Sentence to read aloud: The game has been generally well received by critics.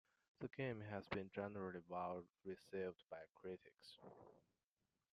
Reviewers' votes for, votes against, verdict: 1, 2, rejected